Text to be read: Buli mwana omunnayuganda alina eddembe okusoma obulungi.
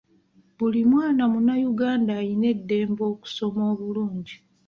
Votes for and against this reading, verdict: 1, 2, rejected